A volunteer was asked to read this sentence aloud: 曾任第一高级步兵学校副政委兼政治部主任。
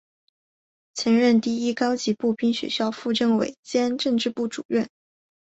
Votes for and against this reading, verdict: 3, 0, accepted